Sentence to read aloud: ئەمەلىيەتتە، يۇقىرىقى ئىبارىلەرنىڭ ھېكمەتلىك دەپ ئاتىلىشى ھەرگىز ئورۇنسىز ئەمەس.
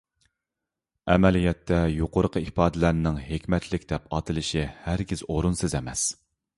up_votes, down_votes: 1, 2